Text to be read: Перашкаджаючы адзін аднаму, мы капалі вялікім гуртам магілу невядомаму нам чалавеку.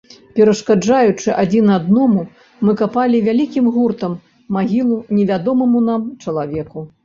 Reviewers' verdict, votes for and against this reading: rejected, 1, 3